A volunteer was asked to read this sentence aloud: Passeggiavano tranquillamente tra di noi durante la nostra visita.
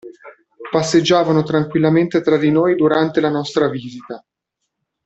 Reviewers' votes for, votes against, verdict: 2, 0, accepted